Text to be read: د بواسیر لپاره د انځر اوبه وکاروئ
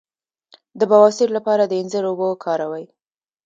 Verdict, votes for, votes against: rejected, 1, 2